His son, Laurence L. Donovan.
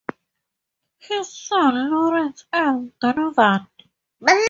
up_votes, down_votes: 2, 2